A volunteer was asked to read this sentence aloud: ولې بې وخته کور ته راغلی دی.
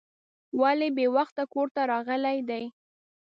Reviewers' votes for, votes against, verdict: 2, 0, accepted